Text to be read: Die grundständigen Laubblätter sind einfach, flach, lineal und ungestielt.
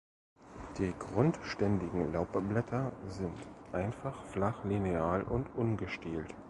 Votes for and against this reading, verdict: 1, 2, rejected